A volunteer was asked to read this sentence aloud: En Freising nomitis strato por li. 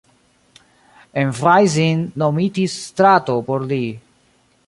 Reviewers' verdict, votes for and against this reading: rejected, 0, 2